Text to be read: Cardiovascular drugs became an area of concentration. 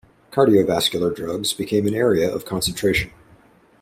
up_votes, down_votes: 2, 0